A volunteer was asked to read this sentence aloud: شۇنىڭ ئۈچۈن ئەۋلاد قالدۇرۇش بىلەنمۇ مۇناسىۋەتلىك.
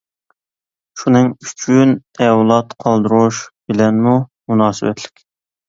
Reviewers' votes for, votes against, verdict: 2, 0, accepted